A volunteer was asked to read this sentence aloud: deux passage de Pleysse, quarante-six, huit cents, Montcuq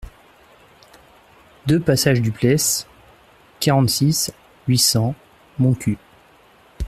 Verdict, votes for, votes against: rejected, 0, 2